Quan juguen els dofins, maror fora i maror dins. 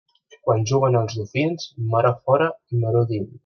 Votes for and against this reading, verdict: 0, 2, rejected